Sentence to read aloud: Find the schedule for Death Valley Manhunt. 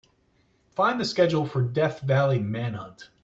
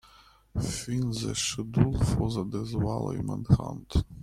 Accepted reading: first